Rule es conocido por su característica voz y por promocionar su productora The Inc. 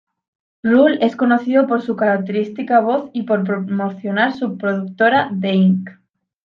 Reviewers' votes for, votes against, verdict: 1, 2, rejected